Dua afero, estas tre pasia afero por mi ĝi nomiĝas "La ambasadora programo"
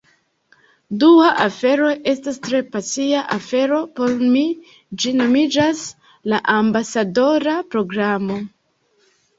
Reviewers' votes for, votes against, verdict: 2, 1, accepted